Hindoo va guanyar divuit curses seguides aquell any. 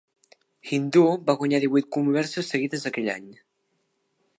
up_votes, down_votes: 1, 2